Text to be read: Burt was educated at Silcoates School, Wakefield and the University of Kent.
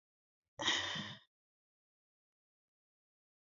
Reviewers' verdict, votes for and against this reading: rejected, 0, 2